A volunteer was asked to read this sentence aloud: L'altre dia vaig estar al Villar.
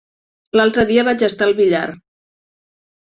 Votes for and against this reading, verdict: 3, 0, accepted